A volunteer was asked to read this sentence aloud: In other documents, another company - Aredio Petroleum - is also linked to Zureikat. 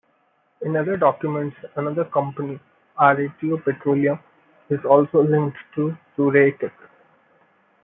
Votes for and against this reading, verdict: 1, 2, rejected